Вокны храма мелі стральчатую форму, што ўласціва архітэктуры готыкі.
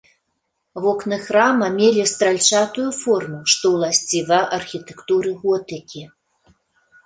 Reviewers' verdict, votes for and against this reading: accepted, 3, 0